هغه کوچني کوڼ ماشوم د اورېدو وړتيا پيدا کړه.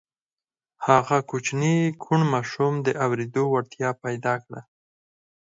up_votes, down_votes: 4, 0